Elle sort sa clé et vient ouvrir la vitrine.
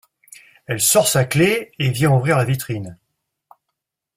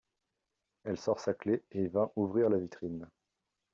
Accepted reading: first